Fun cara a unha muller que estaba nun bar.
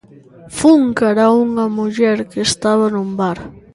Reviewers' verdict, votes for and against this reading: accepted, 2, 0